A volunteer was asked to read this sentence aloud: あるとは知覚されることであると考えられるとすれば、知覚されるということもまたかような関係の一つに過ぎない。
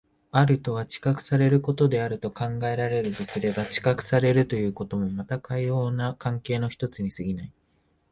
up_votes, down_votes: 2, 0